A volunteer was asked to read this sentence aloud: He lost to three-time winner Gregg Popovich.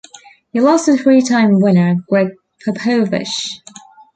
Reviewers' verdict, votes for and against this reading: rejected, 1, 2